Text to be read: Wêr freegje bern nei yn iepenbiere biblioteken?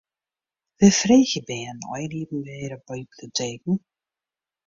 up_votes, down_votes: 0, 2